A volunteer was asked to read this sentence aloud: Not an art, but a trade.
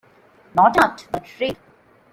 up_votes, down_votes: 0, 3